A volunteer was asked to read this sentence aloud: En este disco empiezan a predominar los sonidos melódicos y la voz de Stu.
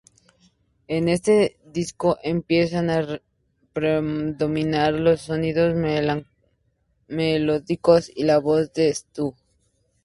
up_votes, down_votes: 0, 2